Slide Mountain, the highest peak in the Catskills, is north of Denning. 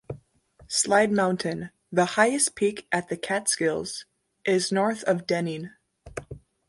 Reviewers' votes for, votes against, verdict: 0, 2, rejected